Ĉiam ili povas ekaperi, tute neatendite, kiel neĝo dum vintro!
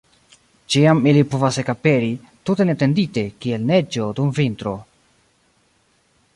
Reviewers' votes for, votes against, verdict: 1, 2, rejected